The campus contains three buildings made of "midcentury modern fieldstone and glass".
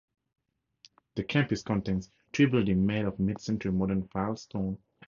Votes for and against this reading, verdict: 2, 2, rejected